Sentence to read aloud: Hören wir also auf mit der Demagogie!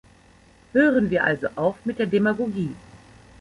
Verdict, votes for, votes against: accepted, 2, 0